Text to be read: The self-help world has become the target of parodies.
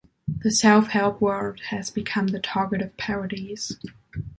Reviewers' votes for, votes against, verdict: 2, 0, accepted